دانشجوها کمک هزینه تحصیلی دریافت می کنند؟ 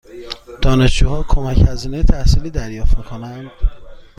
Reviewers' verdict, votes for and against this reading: accepted, 2, 0